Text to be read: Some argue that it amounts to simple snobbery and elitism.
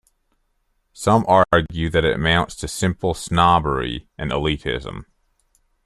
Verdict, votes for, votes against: accepted, 2, 1